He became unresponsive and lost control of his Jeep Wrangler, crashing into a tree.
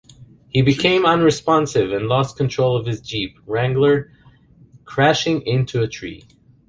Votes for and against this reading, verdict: 3, 0, accepted